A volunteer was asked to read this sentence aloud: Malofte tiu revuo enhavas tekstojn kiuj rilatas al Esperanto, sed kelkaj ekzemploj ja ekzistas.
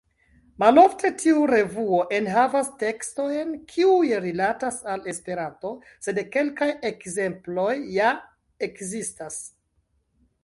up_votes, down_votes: 2, 0